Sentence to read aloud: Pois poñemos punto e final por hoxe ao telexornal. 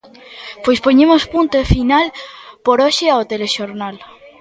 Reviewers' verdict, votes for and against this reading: rejected, 1, 2